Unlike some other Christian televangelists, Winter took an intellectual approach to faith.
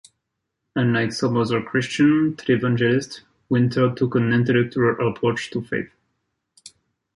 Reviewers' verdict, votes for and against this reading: rejected, 0, 2